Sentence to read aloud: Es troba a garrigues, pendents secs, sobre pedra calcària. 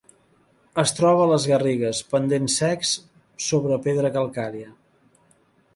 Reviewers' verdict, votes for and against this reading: rejected, 0, 3